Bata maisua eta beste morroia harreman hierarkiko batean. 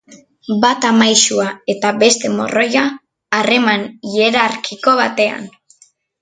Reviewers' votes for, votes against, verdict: 1, 2, rejected